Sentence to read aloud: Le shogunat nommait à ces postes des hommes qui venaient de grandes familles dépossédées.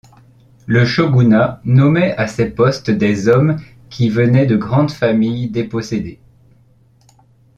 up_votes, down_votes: 2, 0